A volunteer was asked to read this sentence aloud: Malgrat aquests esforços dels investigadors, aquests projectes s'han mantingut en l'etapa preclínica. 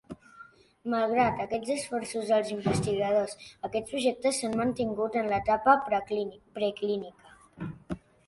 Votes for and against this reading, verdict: 2, 0, accepted